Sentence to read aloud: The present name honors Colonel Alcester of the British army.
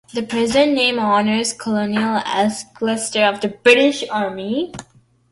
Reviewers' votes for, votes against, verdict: 2, 1, accepted